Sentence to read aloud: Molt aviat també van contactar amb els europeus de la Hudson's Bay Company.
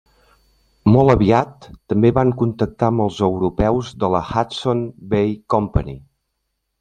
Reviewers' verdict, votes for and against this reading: accepted, 2, 0